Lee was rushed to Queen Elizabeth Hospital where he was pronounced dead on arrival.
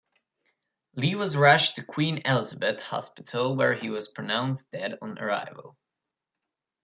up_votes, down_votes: 2, 0